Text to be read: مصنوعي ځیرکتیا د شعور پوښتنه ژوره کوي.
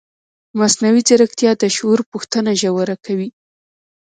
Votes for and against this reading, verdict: 2, 0, accepted